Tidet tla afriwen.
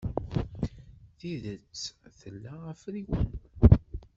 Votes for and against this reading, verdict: 1, 2, rejected